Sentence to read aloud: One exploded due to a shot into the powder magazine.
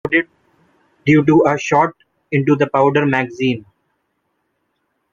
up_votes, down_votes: 0, 2